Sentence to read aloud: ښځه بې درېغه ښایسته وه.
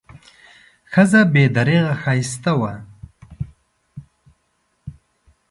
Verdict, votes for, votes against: accepted, 2, 0